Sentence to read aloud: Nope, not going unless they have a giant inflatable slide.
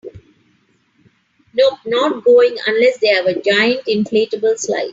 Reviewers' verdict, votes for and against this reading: rejected, 0, 2